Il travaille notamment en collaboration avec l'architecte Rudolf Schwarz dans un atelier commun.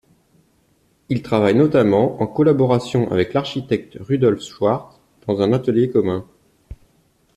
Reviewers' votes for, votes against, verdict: 1, 2, rejected